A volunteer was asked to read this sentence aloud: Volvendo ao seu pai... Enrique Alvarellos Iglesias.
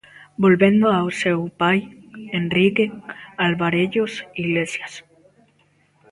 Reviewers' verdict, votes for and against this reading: accepted, 2, 0